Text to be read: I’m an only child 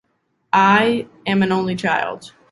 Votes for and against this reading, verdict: 0, 2, rejected